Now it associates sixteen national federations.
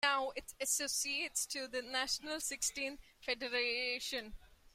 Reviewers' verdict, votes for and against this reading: rejected, 0, 2